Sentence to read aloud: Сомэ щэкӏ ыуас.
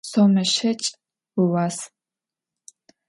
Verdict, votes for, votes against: accepted, 2, 0